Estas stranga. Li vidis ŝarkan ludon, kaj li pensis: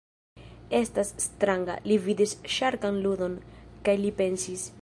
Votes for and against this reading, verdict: 1, 2, rejected